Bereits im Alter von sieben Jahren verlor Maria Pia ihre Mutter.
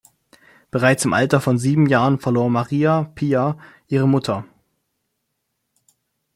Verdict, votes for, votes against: accepted, 2, 0